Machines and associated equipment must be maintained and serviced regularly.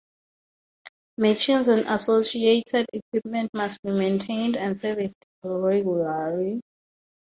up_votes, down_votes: 0, 2